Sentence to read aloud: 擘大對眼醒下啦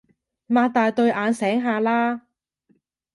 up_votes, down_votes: 2, 0